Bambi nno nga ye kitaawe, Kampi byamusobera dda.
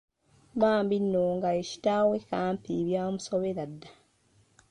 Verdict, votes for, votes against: accepted, 2, 0